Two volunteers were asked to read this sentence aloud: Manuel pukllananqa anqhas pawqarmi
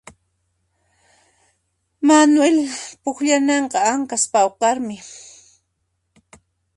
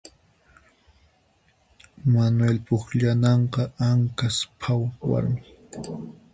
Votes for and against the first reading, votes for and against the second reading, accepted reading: 1, 2, 4, 2, second